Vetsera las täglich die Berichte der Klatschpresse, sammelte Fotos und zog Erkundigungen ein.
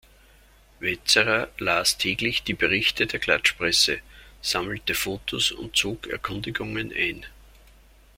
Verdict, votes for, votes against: accepted, 2, 0